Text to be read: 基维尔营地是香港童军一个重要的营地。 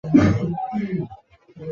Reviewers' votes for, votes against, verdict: 1, 4, rejected